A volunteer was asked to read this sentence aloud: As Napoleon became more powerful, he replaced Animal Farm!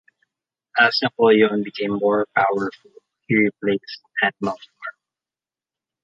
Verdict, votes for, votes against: accepted, 2, 0